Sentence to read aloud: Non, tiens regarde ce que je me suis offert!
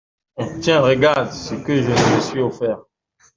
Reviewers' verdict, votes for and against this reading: rejected, 0, 2